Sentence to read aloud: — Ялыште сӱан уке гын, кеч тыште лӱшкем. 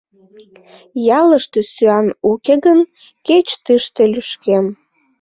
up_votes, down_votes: 2, 1